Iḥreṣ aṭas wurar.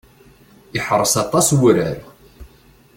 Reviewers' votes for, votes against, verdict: 2, 0, accepted